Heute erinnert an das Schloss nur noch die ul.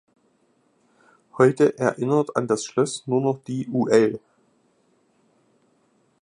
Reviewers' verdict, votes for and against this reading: rejected, 0, 2